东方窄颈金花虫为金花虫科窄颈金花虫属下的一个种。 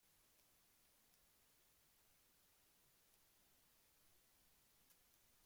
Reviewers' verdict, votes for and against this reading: rejected, 0, 2